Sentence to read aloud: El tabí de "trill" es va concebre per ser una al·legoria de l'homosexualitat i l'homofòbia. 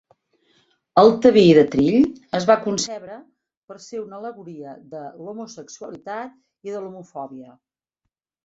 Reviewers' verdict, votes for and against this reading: rejected, 1, 2